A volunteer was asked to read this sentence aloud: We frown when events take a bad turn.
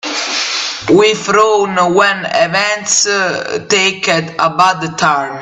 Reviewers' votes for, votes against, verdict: 0, 2, rejected